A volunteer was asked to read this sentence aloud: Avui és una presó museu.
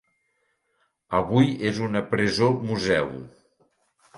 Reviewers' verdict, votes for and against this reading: accepted, 3, 0